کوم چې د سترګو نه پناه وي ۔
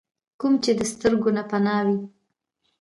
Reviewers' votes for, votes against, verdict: 2, 0, accepted